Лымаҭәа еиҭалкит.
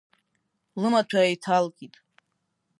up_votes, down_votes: 4, 1